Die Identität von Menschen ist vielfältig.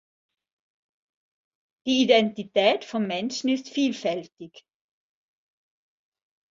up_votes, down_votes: 3, 0